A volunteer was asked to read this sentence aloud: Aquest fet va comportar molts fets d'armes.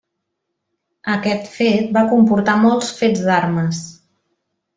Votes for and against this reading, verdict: 3, 0, accepted